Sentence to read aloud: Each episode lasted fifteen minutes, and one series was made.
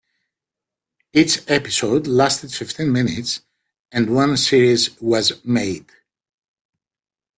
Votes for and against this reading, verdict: 2, 1, accepted